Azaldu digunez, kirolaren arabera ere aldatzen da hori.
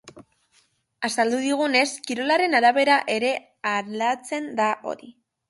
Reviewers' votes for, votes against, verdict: 3, 1, accepted